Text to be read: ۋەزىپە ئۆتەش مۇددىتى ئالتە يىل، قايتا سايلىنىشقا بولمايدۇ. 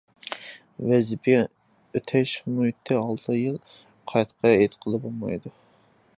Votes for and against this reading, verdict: 0, 2, rejected